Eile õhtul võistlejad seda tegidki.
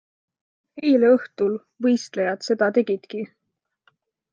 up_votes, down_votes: 2, 0